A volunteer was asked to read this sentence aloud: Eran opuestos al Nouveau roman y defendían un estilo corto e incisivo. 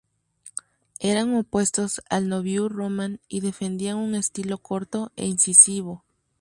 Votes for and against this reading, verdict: 2, 0, accepted